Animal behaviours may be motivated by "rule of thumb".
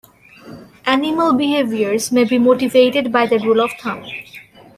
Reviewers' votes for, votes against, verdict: 0, 2, rejected